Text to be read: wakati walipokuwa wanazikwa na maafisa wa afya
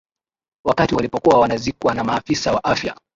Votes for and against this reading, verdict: 2, 0, accepted